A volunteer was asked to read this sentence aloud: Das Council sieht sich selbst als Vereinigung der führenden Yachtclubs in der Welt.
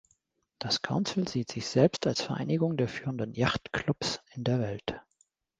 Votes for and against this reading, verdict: 2, 0, accepted